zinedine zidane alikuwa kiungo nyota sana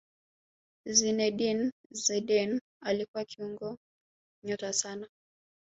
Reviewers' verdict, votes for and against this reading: rejected, 1, 2